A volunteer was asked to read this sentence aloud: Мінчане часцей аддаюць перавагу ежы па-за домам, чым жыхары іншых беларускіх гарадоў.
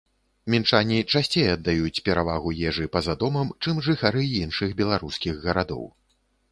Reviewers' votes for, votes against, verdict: 2, 0, accepted